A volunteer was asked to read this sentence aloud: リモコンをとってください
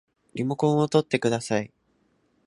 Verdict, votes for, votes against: accepted, 2, 0